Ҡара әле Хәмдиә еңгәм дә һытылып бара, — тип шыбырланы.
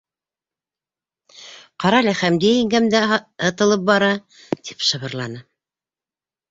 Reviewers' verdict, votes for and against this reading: rejected, 1, 3